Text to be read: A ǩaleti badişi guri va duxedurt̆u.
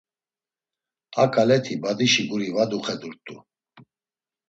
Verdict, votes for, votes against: accepted, 2, 0